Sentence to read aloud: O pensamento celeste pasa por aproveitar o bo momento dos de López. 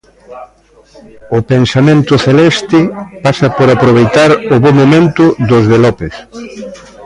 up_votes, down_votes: 1, 2